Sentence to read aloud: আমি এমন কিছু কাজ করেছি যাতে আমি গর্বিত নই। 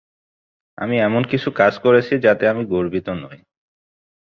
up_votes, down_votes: 2, 0